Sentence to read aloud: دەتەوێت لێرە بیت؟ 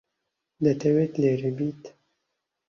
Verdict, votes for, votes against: accepted, 2, 0